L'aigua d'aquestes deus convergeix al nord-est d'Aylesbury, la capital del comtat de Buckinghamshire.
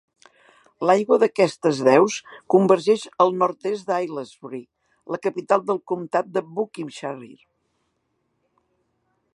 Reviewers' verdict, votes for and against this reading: rejected, 0, 2